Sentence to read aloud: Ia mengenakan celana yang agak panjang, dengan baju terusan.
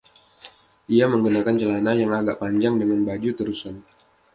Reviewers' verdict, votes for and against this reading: rejected, 1, 2